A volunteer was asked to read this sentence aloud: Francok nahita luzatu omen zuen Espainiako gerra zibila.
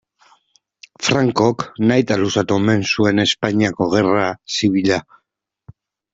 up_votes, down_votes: 2, 0